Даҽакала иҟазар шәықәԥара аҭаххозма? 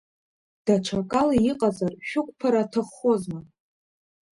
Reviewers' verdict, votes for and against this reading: accepted, 2, 0